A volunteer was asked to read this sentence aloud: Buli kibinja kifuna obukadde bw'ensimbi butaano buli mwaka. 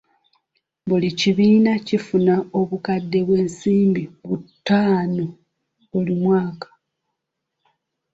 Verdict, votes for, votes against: rejected, 1, 2